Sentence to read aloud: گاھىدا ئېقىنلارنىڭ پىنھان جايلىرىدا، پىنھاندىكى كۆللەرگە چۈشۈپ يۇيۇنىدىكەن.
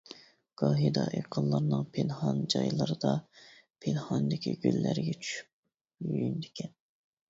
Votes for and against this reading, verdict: 0, 2, rejected